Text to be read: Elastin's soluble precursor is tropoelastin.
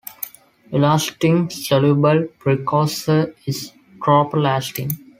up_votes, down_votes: 2, 1